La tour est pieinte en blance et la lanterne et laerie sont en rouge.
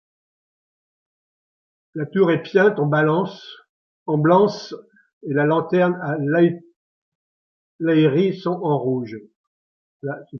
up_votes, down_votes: 1, 3